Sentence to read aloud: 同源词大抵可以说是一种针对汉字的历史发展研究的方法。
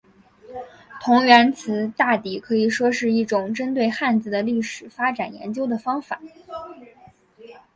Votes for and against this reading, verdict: 1, 2, rejected